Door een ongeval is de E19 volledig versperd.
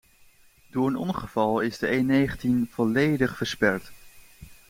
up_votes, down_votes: 0, 2